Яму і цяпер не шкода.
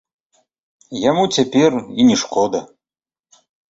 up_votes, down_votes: 0, 2